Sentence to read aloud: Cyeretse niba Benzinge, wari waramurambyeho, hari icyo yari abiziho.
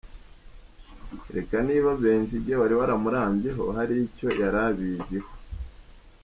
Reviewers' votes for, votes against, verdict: 2, 0, accepted